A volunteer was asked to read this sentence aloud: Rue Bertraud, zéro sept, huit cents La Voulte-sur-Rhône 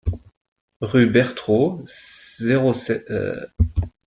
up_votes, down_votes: 0, 2